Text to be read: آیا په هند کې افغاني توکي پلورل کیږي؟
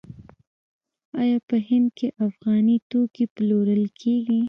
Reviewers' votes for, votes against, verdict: 1, 2, rejected